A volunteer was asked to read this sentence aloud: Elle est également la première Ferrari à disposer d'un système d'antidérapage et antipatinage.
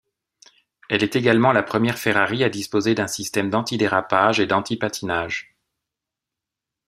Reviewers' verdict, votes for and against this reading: rejected, 1, 2